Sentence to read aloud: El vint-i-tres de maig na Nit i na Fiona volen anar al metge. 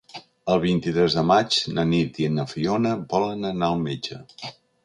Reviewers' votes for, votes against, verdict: 3, 0, accepted